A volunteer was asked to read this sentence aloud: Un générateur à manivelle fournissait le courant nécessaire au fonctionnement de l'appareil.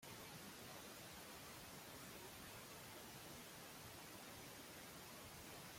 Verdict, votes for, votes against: rejected, 1, 2